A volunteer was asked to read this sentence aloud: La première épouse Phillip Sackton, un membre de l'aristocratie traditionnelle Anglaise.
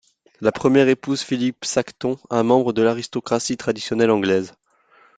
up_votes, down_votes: 2, 0